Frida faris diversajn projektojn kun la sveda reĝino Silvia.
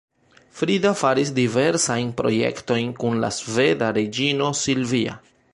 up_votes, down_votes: 2, 0